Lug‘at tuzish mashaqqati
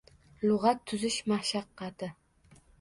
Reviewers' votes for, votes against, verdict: 2, 0, accepted